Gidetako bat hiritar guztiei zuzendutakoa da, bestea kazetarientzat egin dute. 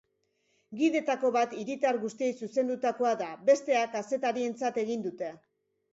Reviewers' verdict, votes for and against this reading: accepted, 2, 0